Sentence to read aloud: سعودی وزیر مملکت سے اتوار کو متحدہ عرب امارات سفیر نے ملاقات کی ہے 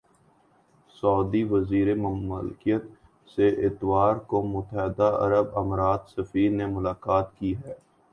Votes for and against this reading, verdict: 2, 0, accepted